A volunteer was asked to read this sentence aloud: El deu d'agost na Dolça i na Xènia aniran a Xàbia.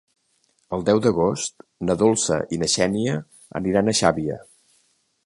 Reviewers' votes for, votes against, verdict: 2, 0, accepted